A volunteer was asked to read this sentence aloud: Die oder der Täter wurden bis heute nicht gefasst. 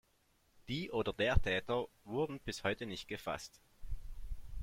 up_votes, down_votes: 2, 0